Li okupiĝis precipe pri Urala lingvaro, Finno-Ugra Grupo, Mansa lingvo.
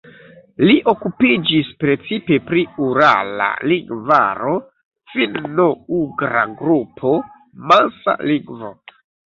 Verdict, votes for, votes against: rejected, 0, 2